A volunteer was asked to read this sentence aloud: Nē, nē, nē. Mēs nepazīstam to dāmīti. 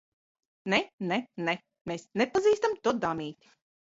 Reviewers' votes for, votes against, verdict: 1, 2, rejected